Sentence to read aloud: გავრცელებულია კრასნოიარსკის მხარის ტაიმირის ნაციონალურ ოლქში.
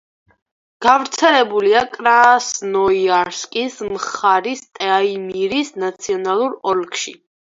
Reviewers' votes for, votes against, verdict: 0, 4, rejected